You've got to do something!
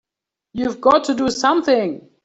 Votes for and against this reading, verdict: 3, 0, accepted